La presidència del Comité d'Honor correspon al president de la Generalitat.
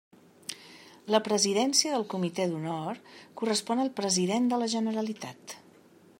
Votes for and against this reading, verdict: 3, 0, accepted